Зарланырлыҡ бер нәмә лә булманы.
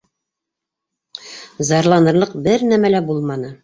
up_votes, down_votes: 3, 0